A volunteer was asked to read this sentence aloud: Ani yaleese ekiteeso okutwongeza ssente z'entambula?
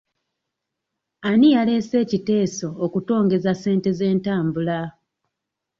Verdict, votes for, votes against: accepted, 2, 0